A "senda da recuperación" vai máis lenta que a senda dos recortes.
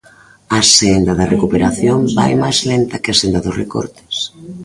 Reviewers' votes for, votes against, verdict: 1, 2, rejected